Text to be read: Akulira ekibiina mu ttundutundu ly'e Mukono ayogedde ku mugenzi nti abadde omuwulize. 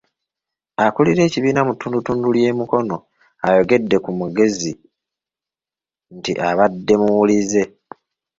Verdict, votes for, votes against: rejected, 1, 2